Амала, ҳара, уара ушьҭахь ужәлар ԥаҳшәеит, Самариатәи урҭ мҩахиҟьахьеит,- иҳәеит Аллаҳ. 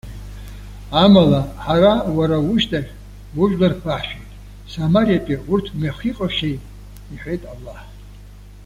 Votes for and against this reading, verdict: 0, 2, rejected